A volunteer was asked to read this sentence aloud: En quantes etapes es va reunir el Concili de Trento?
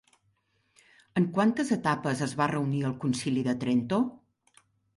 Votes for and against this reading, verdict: 2, 1, accepted